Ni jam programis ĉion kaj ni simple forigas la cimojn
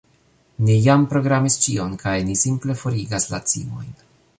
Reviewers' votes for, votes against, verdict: 2, 0, accepted